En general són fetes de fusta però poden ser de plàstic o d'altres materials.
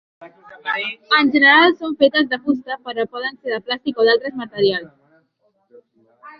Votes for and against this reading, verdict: 0, 2, rejected